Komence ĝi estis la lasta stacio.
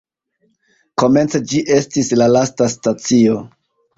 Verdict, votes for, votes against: accepted, 2, 1